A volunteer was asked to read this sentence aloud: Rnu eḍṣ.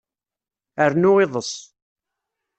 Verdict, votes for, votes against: rejected, 1, 2